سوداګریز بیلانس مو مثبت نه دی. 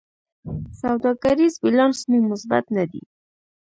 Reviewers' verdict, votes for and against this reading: accepted, 2, 0